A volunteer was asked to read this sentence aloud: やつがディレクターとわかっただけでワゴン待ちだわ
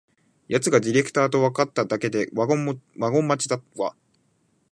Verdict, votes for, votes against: rejected, 0, 2